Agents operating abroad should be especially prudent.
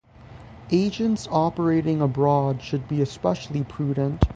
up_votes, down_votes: 3, 3